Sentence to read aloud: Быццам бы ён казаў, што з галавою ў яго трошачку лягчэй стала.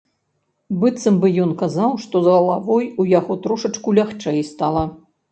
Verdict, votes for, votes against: rejected, 1, 2